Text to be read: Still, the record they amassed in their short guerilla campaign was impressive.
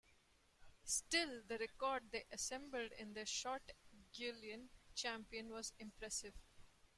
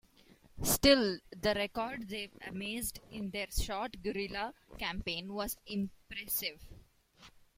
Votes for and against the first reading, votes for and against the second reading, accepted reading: 0, 2, 2, 1, second